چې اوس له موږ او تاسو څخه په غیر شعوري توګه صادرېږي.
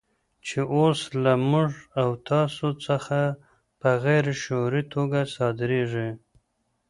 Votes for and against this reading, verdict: 0, 2, rejected